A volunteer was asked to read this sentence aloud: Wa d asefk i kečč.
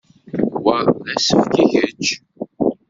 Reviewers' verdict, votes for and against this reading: rejected, 0, 2